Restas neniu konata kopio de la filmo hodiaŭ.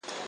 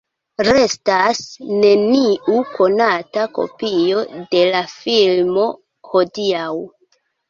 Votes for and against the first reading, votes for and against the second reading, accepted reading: 1, 2, 2, 0, second